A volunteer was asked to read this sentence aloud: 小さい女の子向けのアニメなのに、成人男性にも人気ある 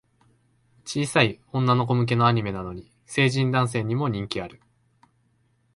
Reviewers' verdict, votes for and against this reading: accepted, 2, 0